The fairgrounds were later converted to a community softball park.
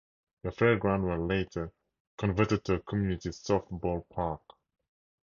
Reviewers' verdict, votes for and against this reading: accepted, 4, 0